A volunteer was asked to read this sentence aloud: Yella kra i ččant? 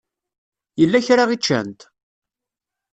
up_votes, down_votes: 2, 0